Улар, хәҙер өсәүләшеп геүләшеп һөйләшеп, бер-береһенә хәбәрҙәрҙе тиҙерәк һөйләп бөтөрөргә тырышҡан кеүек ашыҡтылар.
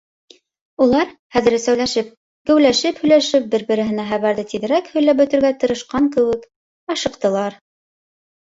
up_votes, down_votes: 0, 2